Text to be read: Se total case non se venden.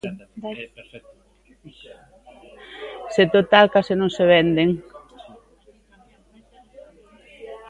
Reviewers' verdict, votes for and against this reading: accepted, 2, 1